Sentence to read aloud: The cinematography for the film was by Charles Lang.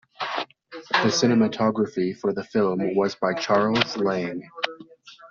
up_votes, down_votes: 0, 2